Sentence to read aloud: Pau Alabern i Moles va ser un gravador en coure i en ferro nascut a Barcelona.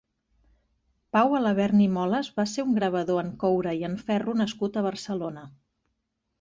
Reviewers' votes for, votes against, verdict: 2, 0, accepted